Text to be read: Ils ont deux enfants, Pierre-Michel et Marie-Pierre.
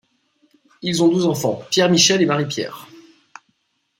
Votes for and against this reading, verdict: 2, 1, accepted